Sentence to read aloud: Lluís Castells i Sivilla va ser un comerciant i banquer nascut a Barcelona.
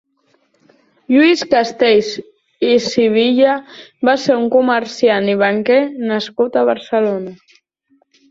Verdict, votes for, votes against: accepted, 3, 0